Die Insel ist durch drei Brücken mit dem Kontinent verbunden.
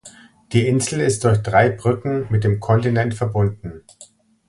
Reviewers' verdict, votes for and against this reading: accepted, 2, 0